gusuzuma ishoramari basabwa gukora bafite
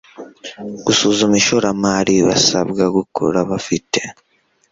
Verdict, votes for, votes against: accepted, 2, 0